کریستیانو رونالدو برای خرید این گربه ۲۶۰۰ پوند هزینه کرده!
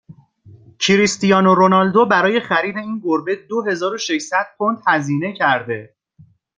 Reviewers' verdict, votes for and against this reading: rejected, 0, 2